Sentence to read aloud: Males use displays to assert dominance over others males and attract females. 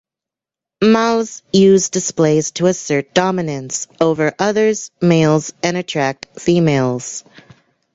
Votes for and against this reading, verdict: 0, 2, rejected